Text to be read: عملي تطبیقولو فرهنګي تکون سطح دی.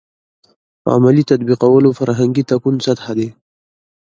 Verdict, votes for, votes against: rejected, 1, 2